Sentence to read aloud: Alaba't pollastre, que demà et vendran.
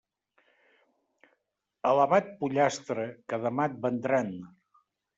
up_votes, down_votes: 1, 2